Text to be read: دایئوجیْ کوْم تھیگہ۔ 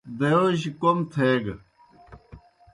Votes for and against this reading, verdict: 2, 0, accepted